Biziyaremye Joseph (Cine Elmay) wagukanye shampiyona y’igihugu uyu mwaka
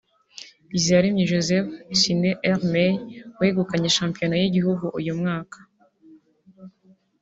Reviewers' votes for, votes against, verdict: 0, 2, rejected